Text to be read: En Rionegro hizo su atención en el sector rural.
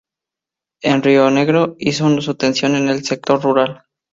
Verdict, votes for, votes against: accepted, 2, 0